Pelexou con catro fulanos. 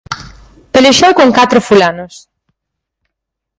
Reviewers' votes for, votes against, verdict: 4, 0, accepted